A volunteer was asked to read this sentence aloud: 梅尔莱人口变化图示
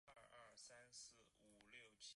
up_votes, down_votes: 4, 5